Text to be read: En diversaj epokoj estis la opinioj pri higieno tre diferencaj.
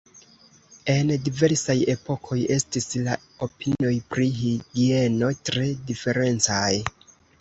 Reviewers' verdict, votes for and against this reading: rejected, 0, 2